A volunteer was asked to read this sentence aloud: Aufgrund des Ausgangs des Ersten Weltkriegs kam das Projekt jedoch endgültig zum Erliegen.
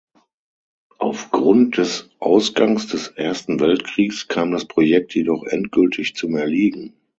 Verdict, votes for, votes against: accepted, 6, 0